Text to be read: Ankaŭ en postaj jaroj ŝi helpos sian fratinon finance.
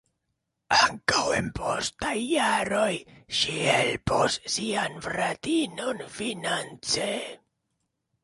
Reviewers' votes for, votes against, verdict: 2, 0, accepted